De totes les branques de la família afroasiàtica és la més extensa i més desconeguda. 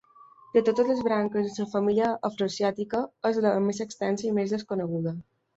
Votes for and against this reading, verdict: 2, 1, accepted